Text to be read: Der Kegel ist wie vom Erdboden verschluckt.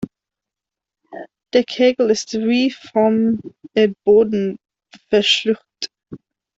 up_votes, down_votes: 0, 2